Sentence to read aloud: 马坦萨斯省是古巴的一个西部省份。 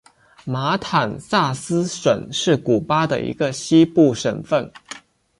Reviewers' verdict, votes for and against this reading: accepted, 2, 0